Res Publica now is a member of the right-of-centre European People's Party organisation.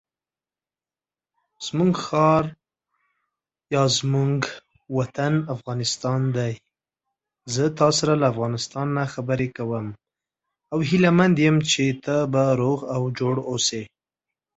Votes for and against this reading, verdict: 0, 2, rejected